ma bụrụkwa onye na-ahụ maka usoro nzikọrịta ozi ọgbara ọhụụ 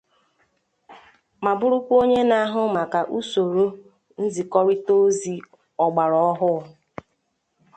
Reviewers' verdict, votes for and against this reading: accepted, 2, 0